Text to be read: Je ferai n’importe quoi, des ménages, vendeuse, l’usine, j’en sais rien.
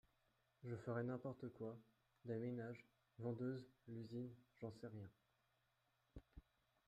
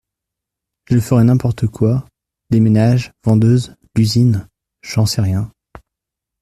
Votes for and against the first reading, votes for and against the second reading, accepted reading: 0, 2, 2, 0, second